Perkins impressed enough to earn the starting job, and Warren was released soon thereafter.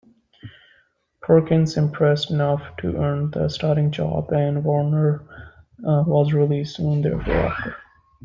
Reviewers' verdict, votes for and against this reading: accepted, 2, 1